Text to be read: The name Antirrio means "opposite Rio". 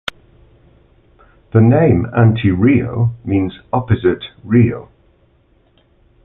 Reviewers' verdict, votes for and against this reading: accepted, 2, 0